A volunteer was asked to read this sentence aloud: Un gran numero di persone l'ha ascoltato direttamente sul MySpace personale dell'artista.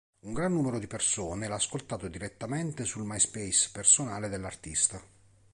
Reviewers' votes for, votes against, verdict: 3, 0, accepted